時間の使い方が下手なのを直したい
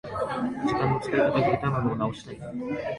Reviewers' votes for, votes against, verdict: 0, 2, rejected